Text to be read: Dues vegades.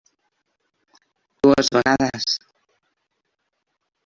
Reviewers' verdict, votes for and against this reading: rejected, 0, 2